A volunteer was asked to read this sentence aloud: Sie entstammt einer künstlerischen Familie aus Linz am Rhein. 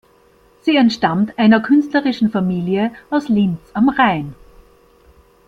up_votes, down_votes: 2, 1